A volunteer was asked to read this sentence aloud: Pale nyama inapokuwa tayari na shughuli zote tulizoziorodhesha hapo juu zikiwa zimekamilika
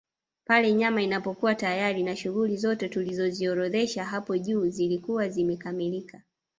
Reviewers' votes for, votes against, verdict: 2, 0, accepted